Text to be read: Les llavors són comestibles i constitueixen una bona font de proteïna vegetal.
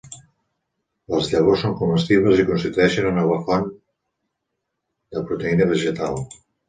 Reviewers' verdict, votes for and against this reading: rejected, 1, 2